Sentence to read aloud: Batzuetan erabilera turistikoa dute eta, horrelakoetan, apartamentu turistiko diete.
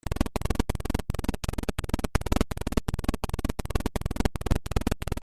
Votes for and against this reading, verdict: 0, 2, rejected